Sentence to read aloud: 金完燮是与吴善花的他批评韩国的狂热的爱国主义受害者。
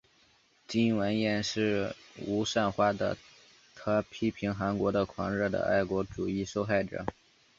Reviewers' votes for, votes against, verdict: 2, 0, accepted